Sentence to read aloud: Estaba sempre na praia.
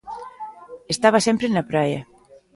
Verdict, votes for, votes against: accepted, 2, 0